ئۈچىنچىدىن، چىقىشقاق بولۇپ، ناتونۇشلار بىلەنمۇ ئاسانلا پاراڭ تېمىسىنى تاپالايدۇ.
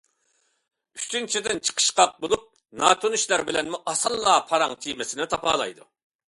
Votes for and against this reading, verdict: 2, 0, accepted